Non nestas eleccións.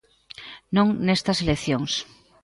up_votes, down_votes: 2, 0